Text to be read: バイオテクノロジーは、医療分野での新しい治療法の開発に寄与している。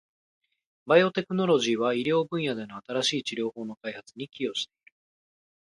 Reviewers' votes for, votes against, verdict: 0, 2, rejected